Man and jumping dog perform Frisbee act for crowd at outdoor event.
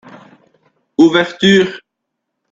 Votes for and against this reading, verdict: 0, 2, rejected